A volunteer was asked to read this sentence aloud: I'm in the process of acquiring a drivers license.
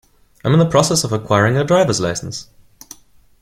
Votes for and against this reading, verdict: 2, 0, accepted